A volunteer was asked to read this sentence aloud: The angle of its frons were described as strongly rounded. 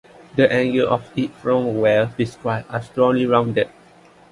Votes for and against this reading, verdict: 0, 2, rejected